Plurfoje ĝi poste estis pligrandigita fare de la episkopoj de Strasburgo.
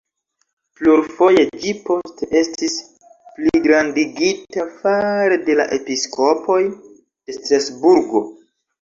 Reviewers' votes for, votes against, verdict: 1, 2, rejected